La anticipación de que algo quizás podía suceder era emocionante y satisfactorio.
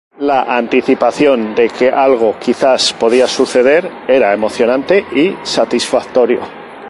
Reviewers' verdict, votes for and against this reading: accepted, 2, 0